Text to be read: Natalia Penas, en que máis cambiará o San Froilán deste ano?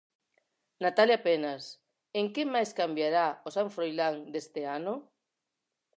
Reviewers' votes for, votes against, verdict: 4, 0, accepted